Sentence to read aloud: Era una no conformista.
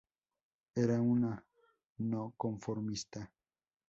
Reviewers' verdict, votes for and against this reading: rejected, 0, 2